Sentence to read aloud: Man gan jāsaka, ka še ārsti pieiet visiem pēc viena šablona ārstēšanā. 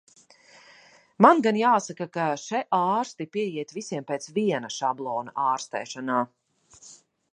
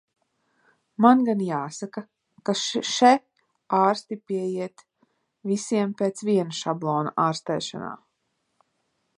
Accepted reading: first